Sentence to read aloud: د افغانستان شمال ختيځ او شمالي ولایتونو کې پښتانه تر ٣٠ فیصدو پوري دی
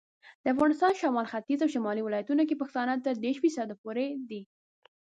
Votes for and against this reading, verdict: 0, 2, rejected